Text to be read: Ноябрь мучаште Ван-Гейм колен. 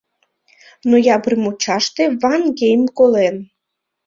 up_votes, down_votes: 2, 0